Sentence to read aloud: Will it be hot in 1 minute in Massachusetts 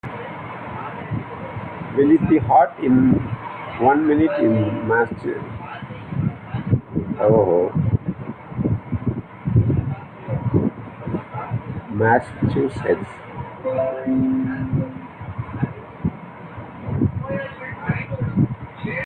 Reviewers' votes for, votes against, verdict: 0, 2, rejected